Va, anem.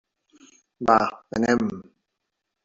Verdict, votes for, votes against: rejected, 0, 2